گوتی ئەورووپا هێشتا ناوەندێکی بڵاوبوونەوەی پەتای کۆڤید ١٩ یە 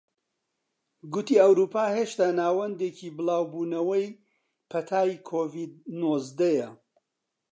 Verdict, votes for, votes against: rejected, 0, 2